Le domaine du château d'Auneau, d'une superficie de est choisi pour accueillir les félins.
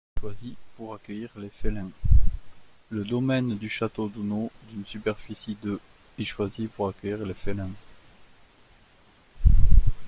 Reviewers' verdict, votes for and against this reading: rejected, 0, 2